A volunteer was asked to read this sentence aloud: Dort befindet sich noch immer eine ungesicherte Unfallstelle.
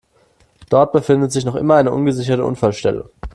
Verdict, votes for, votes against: accepted, 2, 0